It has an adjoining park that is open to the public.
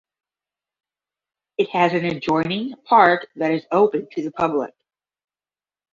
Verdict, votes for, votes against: accepted, 5, 0